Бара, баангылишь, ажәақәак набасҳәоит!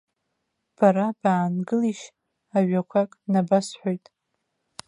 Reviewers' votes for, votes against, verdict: 2, 1, accepted